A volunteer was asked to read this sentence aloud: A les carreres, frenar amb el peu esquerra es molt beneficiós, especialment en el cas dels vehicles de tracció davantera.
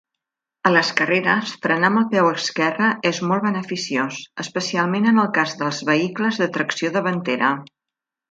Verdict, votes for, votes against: accepted, 2, 0